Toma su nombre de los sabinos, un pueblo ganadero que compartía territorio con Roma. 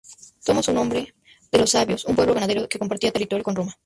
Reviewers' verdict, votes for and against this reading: rejected, 0, 2